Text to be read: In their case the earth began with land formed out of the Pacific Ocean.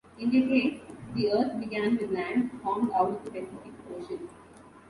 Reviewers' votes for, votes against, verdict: 2, 1, accepted